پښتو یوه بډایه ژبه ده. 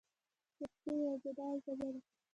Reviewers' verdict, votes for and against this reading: rejected, 0, 2